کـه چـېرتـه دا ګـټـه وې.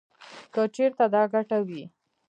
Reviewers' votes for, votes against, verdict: 0, 2, rejected